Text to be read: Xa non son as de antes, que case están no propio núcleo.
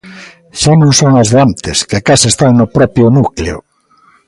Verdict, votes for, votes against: accepted, 2, 0